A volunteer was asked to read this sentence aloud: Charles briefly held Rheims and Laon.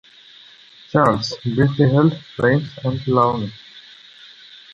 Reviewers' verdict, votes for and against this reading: accepted, 2, 0